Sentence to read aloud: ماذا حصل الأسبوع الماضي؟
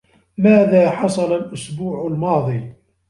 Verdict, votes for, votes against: rejected, 0, 2